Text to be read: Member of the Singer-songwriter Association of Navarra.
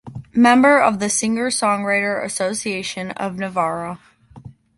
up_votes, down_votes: 2, 0